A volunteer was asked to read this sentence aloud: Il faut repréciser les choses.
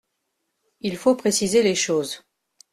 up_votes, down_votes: 1, 2